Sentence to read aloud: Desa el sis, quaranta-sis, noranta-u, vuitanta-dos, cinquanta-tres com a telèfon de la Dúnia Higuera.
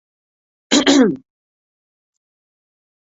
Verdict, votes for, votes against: rejected, 0, 2